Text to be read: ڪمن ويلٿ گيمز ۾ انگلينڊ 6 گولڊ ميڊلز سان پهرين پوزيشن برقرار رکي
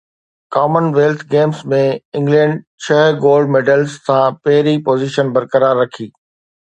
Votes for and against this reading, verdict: 0, 2, rejected